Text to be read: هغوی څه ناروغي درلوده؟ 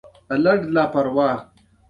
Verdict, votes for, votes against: rejected, 1, 2